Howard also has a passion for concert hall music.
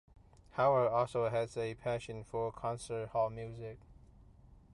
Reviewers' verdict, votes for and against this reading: accepted, 2, 0